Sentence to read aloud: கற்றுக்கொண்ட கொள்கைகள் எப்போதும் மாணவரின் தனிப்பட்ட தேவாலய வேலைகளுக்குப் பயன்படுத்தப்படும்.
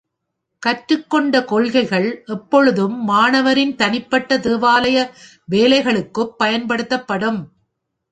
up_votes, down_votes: 1, 2